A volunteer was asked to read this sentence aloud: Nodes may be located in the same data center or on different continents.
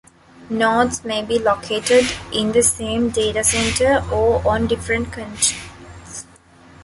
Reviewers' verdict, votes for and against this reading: rejected, 1, 2